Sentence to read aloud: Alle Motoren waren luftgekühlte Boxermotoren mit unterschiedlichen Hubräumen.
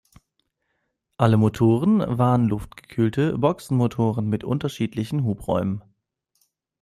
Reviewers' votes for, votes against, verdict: 1, 2, rejected